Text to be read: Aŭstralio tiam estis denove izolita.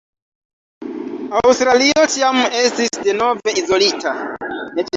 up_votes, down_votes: 1, 2